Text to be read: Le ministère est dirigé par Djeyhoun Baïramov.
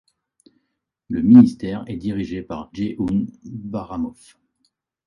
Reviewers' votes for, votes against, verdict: 2, 1, accepted